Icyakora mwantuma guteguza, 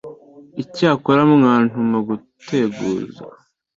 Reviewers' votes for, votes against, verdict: 2, 1, accepted